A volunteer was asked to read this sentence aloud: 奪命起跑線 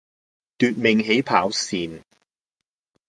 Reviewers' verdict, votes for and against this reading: accepted, 2, 0